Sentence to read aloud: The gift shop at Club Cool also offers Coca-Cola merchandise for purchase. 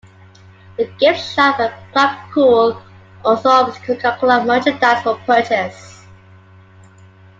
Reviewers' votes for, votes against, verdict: 2, 1, accepted